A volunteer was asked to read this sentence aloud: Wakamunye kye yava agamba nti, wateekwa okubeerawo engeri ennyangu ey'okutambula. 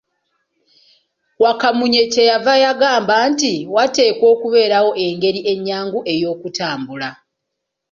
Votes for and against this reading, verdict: 3, 1, accepted